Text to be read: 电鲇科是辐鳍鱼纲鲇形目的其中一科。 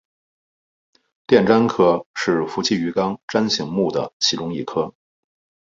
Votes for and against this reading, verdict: 3, 0, accepted